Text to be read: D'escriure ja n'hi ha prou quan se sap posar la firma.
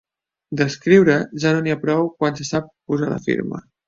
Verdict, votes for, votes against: rejected, 1, 2